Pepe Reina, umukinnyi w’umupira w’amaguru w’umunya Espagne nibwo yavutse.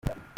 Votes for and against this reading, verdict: 0, 2, rejected